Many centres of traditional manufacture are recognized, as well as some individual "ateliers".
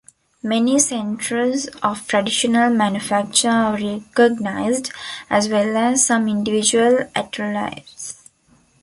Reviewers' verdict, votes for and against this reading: rejected, 1, 2